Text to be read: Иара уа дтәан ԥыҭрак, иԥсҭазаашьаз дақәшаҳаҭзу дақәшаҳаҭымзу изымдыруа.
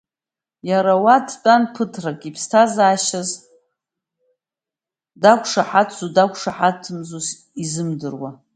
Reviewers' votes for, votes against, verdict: 2, 1, accepted